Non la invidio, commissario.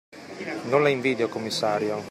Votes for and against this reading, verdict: 2, 0, accepted